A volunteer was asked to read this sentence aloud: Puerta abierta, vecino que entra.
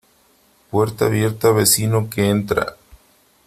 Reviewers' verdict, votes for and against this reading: accepted, 3, 0